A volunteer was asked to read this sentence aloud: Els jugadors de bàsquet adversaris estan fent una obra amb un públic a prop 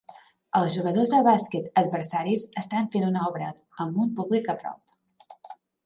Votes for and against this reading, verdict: 2, 0, accepted